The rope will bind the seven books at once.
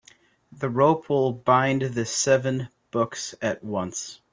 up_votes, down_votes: 3, 0